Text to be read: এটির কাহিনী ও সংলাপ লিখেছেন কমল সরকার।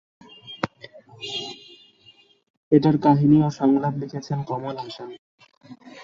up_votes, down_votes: 0, 2